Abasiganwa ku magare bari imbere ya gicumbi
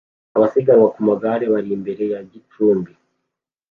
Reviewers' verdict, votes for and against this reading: accepted, 2, 0